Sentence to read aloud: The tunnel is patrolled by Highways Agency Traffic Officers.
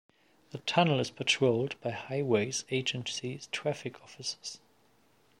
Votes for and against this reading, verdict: 0, 2, rejected